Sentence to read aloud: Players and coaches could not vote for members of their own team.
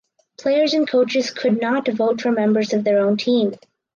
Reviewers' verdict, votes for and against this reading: accepted, 4, 0